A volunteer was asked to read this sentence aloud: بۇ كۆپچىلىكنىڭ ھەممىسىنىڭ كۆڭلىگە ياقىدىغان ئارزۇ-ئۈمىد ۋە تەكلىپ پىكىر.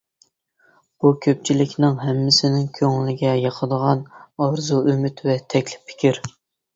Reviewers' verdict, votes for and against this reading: accepted, 2, 0